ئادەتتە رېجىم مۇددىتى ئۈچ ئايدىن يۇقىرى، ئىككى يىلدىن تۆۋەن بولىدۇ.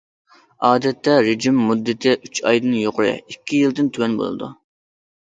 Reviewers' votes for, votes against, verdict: 2, 0, accepted